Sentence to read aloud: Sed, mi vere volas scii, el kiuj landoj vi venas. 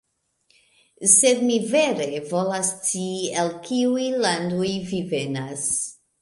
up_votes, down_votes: 2, 1